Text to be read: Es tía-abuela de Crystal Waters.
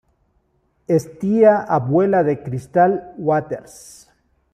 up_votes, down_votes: 1, 2